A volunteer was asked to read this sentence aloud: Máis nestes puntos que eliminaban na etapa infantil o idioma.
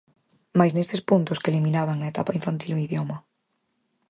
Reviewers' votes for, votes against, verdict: 4, 0, accepted